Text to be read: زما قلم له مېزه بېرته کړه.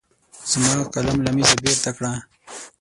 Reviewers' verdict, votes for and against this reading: rejected, 3, 6